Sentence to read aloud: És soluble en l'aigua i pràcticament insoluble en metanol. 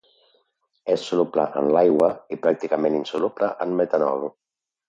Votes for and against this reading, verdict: 3, 0, accepted